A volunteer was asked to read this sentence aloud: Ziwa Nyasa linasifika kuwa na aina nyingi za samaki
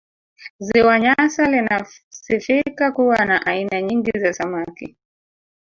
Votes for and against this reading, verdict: 1, 2, rejected